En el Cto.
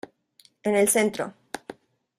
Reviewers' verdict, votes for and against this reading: rejected, 1, 2